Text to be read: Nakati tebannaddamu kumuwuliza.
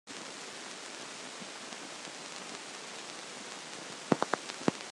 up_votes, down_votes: 0, 2